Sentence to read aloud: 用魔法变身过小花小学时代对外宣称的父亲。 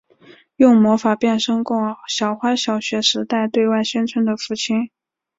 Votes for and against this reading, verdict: 2, 0, accepted